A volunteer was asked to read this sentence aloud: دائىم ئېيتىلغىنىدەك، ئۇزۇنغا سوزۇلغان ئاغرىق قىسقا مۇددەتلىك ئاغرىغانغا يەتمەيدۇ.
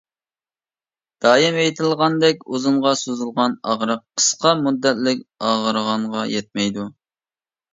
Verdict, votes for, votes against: rejected, 1, 2